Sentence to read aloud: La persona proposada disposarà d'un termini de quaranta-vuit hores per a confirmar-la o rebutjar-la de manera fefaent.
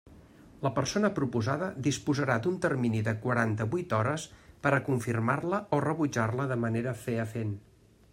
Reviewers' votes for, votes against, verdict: 1, 2, rejected